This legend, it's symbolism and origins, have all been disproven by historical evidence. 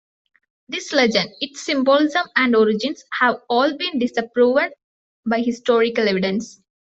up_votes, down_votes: 2, 0